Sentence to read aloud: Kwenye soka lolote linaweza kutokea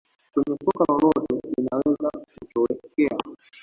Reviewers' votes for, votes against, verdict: 1, 2, rejected